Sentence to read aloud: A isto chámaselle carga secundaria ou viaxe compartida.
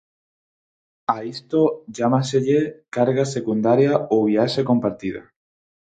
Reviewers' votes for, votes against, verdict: 2, 4, rejected